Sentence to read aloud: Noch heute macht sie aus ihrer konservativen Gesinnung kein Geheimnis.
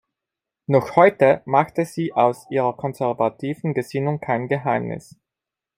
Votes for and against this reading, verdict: 1, 2, rejected